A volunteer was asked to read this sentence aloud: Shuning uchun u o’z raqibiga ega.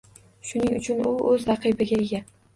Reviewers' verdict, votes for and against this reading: accepted, 2, 0